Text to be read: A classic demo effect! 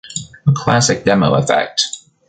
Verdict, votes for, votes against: rejected, 1, 2